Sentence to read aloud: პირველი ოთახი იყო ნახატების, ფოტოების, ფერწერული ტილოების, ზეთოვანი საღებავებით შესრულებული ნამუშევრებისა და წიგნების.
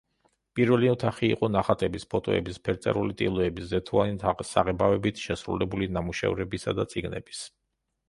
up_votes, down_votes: 1, 2